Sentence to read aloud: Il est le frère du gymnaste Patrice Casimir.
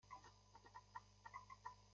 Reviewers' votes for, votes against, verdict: 0, 2, rejected